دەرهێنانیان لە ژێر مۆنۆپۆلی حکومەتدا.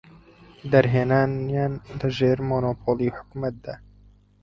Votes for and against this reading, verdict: 4, 0, accepted